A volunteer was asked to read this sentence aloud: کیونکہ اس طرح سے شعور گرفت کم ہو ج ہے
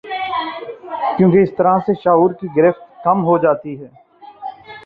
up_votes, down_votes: 0, 2